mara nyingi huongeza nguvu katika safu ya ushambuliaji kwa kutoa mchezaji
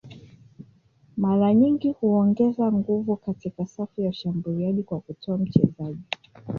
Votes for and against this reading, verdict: 1, 2, rejected